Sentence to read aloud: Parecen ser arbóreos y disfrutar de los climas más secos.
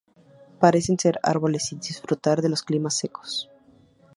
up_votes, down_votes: 0, 4